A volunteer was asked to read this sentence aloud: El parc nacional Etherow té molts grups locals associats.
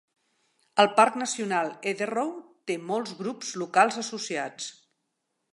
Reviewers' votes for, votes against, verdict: 2, 0, accepted